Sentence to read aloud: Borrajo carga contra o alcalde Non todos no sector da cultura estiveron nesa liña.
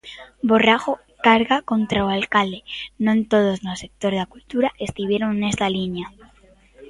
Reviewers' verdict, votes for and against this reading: accepted, 2, 0